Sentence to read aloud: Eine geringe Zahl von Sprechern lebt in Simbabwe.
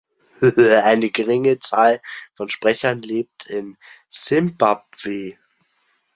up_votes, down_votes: 0, 2